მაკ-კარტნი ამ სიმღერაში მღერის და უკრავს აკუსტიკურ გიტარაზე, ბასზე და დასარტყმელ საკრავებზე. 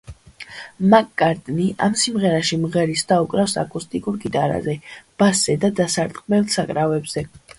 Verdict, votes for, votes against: accepted, 2, 0